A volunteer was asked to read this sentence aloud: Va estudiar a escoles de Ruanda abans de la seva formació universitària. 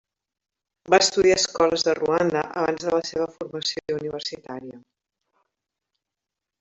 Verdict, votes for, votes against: rejected, 1, 2